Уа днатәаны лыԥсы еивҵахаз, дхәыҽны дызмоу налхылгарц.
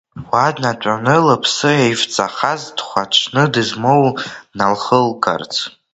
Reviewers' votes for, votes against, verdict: 1, 2, rejected